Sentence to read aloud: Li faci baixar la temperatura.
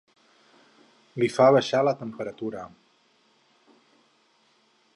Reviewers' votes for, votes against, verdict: 0, 4, rejected